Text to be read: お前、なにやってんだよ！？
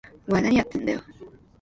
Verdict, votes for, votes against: accepted, 2, 0